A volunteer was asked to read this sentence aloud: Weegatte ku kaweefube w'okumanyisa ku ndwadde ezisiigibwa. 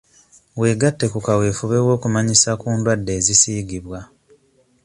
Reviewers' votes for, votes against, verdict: 2, 0, accepted